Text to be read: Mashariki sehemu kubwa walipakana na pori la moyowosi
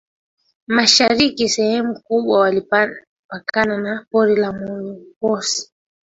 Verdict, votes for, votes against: rejected, 1, 2